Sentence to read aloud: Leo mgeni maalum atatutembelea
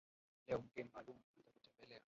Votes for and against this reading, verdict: 0, 2, rejected